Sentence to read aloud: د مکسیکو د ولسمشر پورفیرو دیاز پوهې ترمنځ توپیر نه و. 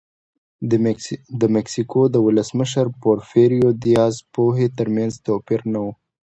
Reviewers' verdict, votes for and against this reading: accepted, 2, 0